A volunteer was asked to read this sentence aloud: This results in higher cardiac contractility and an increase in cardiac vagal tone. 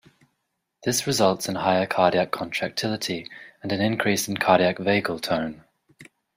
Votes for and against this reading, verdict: 2, 0, accepted